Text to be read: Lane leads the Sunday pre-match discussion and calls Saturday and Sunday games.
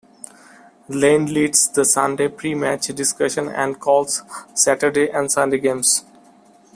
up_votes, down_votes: 1, 2